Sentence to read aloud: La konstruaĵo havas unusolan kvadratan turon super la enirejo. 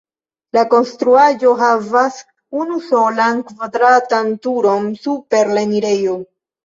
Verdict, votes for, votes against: rejected, 1, 2